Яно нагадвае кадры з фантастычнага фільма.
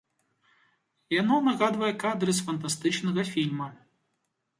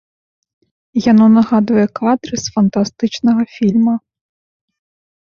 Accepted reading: first